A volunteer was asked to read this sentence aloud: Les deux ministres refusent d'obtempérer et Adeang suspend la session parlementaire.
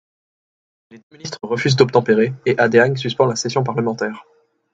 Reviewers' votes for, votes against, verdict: 1, 2, rejected